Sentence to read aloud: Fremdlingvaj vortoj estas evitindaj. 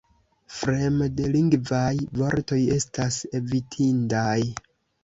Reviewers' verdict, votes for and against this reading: rejected, 1, 2